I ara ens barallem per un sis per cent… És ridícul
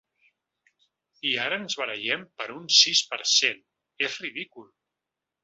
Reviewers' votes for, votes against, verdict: 2, 0, accepted